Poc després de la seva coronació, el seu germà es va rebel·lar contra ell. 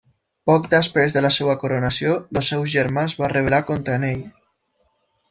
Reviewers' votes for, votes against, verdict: 0, 2, rejected